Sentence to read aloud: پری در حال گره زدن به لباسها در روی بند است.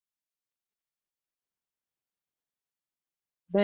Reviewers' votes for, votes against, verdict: 0, 2, rejected